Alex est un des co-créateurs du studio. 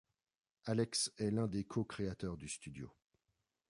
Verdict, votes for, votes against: rejected, 1, 2